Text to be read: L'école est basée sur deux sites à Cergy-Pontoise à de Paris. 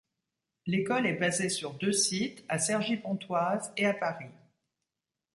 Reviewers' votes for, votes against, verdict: 1, 2, rejected